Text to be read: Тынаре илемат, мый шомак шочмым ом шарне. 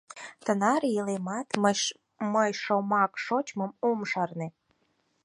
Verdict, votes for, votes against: rejected, 2, 4